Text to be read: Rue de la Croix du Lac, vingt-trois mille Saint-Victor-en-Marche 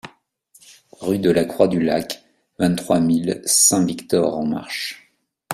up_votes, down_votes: 3, 0